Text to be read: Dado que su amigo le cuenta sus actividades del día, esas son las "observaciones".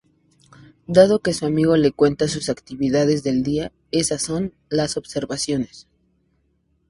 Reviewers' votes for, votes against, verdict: 0, 2, rejected